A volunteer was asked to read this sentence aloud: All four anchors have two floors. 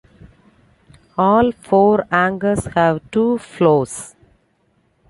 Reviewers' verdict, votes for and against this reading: accepted, 2, 0